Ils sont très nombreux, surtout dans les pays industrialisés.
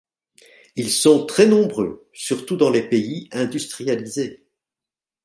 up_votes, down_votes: 3, 0